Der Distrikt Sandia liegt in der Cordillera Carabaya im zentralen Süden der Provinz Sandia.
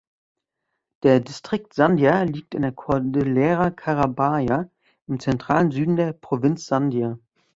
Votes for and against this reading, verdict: 1, 2, rejected